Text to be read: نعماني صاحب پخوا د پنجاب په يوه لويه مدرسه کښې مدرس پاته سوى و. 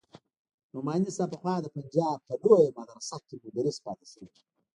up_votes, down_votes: 1, 2